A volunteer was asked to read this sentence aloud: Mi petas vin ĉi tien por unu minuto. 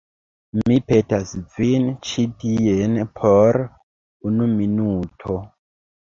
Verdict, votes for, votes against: accepted, 2, 1